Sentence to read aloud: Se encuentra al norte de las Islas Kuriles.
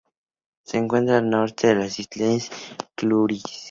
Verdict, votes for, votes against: rejected, 0, 2